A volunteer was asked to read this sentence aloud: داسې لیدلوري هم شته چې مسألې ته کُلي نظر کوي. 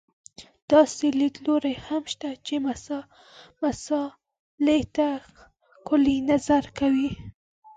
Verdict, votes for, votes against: rejected, 0, 4